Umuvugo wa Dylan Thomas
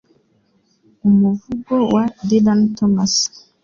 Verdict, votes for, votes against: accepted, 3, 0